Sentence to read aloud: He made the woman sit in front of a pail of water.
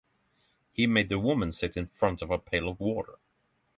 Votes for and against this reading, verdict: 3, 3, rejected